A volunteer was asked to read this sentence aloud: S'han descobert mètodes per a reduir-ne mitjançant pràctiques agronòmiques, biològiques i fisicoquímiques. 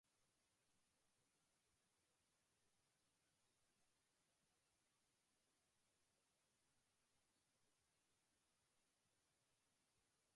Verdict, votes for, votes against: rejected, 0, 2